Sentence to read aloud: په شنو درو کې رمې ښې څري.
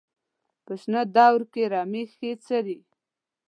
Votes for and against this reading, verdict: 0, 2, rejected